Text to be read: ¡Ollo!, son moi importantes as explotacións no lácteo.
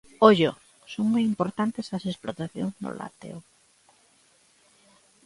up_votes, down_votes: 2, 1